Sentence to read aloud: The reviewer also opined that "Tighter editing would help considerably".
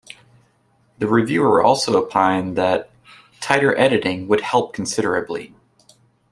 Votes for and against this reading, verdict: 2, 0, accepted